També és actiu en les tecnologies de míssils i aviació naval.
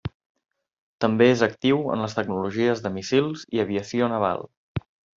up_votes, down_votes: 1, 2